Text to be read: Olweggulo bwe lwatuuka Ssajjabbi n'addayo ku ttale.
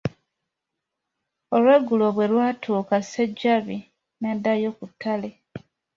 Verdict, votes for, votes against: rejected, 1, 2